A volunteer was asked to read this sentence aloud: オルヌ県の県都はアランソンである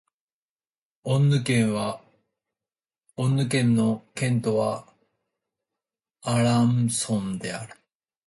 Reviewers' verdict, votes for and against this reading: rejected, 1, 2